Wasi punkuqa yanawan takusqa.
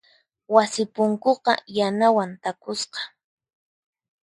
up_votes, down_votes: 4, 0